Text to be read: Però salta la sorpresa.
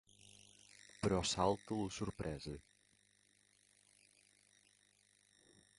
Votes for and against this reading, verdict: 1, 2, rejected